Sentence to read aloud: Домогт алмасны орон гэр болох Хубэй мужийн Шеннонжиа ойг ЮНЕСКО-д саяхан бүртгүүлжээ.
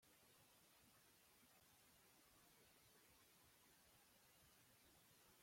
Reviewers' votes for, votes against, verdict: 0, 2, rejected